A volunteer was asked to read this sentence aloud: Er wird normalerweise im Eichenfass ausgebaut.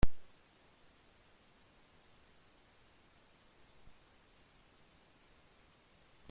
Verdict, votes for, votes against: rejected, 0, 2